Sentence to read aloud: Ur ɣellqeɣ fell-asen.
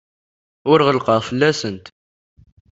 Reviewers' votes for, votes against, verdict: 0, 2, rejected